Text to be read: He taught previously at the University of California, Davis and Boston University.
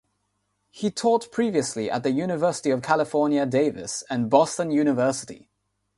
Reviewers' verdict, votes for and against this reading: accepted, 3, 0